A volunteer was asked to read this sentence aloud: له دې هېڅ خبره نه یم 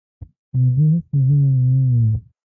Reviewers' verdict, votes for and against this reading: rejected, 0, 3